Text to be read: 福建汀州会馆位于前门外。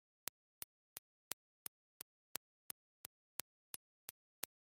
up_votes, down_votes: 0, 2